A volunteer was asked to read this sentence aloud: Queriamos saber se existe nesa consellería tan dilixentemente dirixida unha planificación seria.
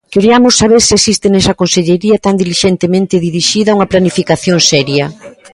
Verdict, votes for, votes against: accepted, 2, 0